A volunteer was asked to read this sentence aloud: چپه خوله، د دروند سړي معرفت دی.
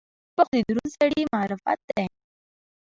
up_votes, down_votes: 2, 1